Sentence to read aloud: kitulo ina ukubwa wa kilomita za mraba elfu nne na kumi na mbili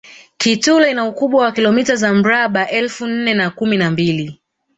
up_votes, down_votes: 1, 2